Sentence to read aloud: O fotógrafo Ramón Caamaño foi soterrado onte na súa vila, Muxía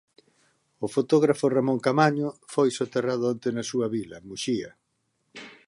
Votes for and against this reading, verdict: 2, 0, accepted